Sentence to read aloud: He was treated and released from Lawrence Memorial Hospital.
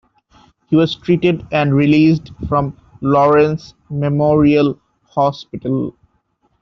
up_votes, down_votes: 2, 0